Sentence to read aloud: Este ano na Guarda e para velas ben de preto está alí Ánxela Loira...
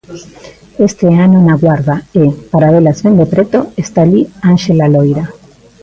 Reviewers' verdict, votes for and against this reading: accepted, 2, 0